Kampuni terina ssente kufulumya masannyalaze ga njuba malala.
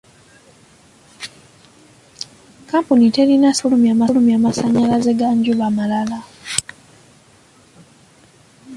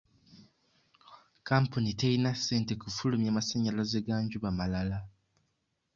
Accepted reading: second